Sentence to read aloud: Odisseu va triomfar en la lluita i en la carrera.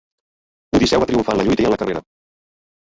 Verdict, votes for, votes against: accepted, 2, 1